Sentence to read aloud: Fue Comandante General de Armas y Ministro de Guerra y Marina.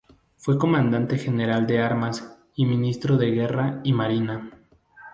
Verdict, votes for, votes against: accepted, 4, 0